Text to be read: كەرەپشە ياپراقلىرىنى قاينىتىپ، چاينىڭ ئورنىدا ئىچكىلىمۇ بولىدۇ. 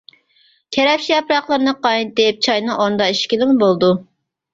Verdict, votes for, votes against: rejected, 0, 2